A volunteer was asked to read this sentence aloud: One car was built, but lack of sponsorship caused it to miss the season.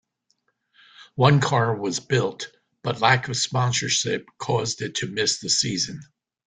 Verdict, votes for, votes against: accepted, 2, 0